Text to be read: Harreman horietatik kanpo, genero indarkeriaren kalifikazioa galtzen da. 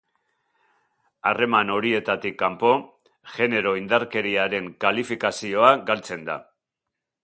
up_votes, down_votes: 3, 0